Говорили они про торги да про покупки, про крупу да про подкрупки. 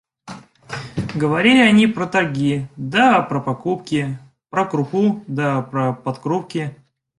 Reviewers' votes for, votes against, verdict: 2, 1, accepted